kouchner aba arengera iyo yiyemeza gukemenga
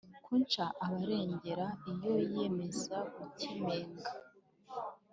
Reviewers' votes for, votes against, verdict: 2, 0, accepted